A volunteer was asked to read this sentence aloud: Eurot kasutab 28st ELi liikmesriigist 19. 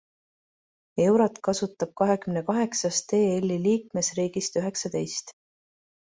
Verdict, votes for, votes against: rejected, 0, 2